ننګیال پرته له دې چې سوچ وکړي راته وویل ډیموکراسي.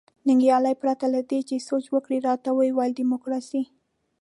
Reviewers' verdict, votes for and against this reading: rejected, 1, 2